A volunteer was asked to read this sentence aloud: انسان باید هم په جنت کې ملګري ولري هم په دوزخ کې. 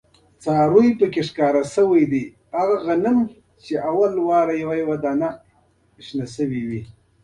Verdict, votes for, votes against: rejected, 1, 2